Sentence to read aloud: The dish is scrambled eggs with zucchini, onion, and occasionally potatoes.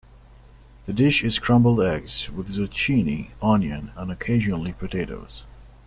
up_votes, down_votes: 1, 2